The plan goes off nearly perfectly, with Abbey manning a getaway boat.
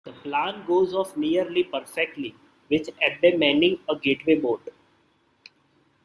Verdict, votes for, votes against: rejected, 1, 2